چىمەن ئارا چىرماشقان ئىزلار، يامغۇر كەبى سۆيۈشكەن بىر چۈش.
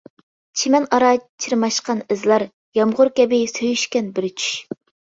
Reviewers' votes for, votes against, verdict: 2, 0, accepted